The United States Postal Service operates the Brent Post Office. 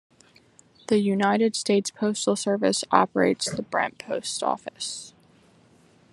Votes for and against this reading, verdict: 2, 0, accepted